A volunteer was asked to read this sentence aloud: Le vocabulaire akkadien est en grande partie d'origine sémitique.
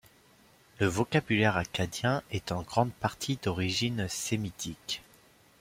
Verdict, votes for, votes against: accepted, 2, 0